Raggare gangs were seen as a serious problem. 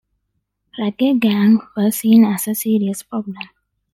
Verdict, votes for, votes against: rejected, 0, 2